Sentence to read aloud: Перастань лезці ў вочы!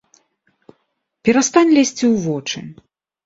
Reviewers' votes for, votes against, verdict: 2, 0, accepted